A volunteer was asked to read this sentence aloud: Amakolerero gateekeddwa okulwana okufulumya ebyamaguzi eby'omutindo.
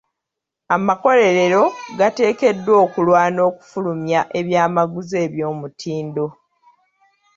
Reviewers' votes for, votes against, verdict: 2, 0, accepted